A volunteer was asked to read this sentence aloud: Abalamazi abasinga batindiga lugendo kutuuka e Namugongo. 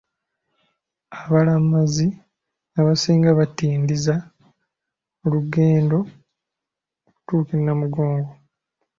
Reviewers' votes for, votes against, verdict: 0, 2, rejected